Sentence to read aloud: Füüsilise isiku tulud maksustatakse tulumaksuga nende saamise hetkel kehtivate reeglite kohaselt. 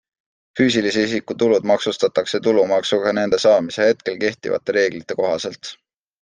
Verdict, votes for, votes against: accepted, 2, 0